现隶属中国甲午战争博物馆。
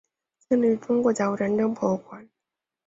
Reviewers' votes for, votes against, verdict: 1, 2, rejected